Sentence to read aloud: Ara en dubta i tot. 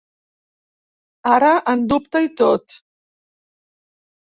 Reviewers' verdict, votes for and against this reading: rejected, 1, 2